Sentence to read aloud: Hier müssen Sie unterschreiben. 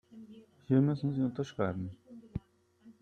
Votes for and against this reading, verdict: 4, 0, accepted